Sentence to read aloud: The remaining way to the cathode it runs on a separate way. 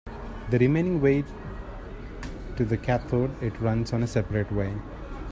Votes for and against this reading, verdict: 2, 1, accepted